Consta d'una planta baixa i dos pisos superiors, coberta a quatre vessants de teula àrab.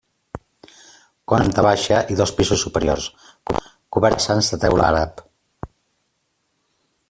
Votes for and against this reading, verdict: 0, 2, rejected